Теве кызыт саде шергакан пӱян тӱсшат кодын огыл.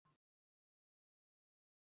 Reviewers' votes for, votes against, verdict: 0, 2, rejected